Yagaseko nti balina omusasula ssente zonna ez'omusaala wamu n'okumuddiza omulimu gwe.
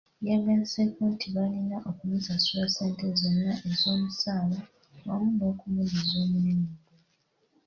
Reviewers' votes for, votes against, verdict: 2, 0, accepted